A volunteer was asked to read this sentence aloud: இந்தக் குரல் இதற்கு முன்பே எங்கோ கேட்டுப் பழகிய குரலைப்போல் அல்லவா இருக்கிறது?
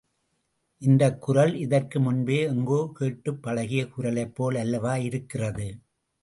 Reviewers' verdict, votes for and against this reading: accepted, 2, 0